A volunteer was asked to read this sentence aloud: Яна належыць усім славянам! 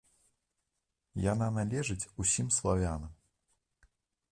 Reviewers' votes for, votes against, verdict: 2, 0, accepted